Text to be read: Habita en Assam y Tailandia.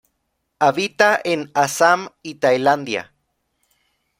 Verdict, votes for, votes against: accepted, 2, 0